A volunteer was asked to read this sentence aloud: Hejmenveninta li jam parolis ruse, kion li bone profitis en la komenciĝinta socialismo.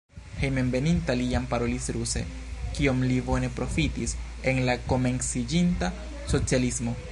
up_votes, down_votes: 4, 1